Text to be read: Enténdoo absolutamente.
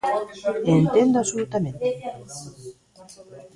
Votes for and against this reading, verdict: 1, 2, rejected